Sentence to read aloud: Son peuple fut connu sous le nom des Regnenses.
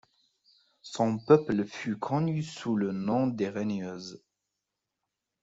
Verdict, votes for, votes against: rejected, 1, 2